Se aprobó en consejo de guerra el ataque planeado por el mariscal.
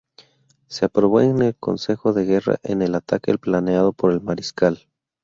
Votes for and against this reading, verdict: 0, 2, rejected